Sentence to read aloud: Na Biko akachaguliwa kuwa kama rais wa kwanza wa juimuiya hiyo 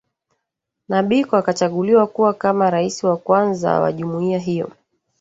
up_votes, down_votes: 0, 2